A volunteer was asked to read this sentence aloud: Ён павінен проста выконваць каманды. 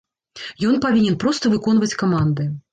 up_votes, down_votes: 3, 0